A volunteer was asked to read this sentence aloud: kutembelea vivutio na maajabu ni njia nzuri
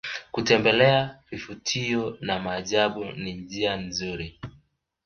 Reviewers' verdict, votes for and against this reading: accepted, 3, 0